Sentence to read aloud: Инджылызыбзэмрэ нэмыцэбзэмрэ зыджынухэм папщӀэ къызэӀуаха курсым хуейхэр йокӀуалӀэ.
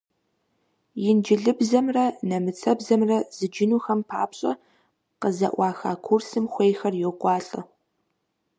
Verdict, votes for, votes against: accepted, 2, 0